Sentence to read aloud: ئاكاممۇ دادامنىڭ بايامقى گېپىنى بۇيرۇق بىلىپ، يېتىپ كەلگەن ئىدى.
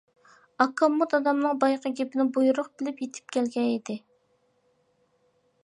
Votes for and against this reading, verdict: 2, 1, accepted